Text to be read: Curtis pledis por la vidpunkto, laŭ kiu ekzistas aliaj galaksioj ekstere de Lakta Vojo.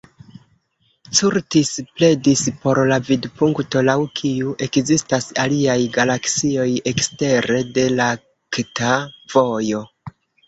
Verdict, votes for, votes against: rejected, 1, 2